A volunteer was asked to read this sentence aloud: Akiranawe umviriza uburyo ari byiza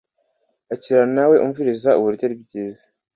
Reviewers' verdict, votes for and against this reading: accepted, 2, 0